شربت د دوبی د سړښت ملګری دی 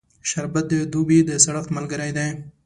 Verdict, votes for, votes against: accepted, 2, 0